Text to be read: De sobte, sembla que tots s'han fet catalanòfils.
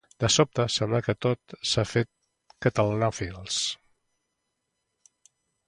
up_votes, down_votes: 1, 2